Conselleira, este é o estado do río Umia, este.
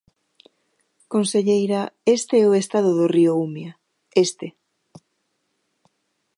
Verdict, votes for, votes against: accepted, 2, 0